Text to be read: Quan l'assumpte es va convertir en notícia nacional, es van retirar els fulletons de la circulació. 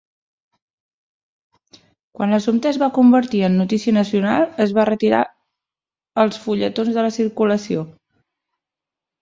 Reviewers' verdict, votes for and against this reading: rejected, 1, 2